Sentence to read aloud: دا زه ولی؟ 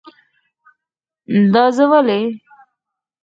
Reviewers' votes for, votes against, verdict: 0, 4, rejected